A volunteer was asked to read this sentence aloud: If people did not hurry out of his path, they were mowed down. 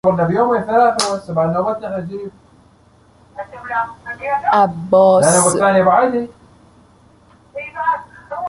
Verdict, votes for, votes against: rejected, 0, 2